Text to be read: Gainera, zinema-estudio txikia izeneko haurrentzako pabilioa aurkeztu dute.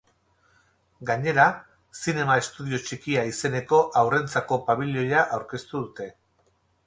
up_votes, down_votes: 8, 0